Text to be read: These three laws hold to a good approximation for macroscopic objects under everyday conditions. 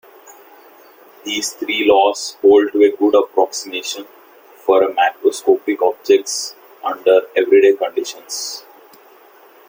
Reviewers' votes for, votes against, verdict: 2, 0, accepted